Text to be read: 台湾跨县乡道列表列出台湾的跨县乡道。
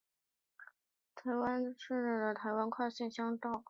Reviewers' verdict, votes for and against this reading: rejected, 0, 2